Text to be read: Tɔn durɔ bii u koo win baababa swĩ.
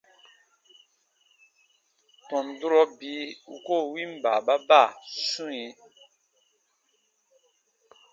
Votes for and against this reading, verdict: 3, 0, accepted